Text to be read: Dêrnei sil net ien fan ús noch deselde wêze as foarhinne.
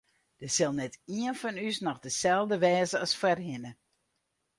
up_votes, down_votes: 0, 4